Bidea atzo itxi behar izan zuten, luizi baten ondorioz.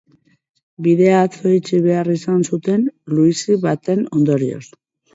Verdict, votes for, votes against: accepted, 2, 0